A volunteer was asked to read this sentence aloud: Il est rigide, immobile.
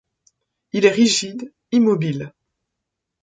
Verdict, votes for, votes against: accepted, 2, 0